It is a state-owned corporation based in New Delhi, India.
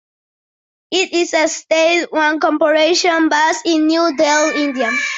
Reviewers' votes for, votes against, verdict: 1, 2, rejected